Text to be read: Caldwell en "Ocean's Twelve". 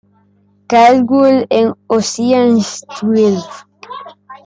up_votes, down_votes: 2, 0